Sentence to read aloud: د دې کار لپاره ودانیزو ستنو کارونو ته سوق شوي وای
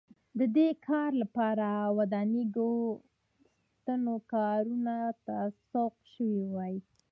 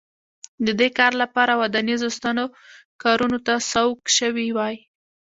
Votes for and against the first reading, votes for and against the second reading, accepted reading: 2, 1, 0, 2, first